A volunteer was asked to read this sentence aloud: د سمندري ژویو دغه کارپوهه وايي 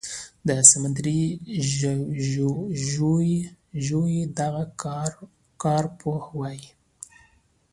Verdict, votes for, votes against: accepted, 2, 0